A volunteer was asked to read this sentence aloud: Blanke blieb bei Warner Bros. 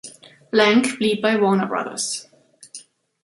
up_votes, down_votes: 2, 0